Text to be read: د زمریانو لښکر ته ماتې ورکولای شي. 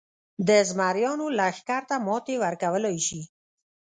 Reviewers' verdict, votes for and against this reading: rejected, 1, 2